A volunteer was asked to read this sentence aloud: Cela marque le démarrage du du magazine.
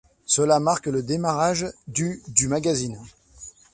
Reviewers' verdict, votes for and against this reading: rejected, 0, 2